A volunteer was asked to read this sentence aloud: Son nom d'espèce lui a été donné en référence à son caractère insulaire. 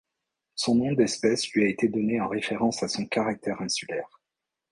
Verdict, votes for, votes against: accepted, 2, 1